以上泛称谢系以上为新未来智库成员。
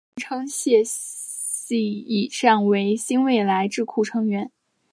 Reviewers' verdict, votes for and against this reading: rejected, 1, 2